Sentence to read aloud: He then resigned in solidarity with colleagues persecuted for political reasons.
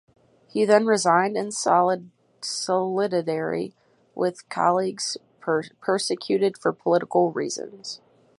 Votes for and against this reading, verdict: 0, 4, rejected